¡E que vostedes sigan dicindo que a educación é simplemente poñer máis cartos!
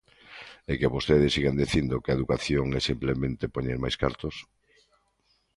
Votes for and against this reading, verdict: 2, 0, accepted